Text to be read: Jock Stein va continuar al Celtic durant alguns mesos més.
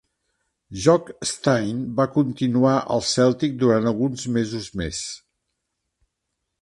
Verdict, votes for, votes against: accepted, 3, 0